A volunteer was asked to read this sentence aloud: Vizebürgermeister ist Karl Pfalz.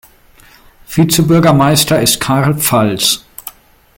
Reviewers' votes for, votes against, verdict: 2, 0, accepted